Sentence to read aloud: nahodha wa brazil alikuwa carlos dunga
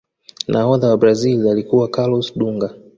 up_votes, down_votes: 2, 0